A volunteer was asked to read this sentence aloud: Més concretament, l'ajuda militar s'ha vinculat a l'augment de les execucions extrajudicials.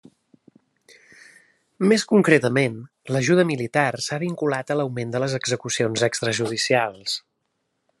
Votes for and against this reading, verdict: 3, 0, accepted